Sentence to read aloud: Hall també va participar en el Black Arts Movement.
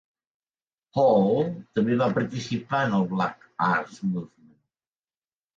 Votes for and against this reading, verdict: 0, 2, rejected